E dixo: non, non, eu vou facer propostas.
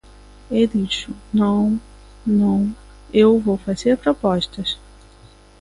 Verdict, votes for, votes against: accepted, 2, 0